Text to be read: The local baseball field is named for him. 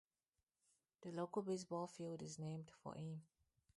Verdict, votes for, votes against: accepted, 2, 0